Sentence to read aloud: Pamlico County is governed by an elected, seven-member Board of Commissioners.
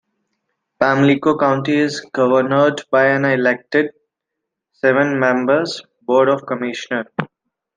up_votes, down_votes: 0, 2